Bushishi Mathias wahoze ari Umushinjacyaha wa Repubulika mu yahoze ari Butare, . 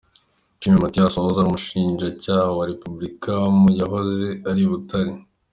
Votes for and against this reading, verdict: 1, 2, rejected